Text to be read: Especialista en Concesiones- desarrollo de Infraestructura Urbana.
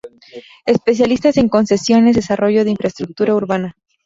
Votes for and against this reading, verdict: 0, 2, rejected